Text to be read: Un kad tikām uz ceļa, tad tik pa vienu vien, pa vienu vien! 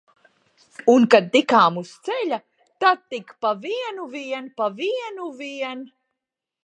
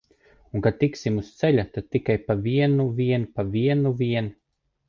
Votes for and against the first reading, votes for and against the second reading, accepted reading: 3, 0, 0, 2, first